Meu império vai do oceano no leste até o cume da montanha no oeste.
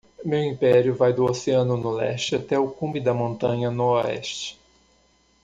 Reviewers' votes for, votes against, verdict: 2, 0, accepted